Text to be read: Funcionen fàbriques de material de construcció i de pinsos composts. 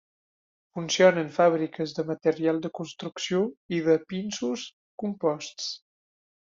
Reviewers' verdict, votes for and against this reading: accepted, 3, 0